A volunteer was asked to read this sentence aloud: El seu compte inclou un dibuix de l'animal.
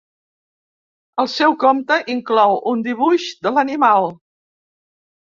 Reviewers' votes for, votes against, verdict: 2, 0, accepted